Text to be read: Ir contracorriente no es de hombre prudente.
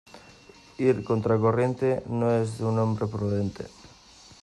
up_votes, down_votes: 1, 2